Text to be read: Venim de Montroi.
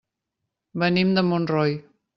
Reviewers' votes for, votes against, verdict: 2, 0, accepted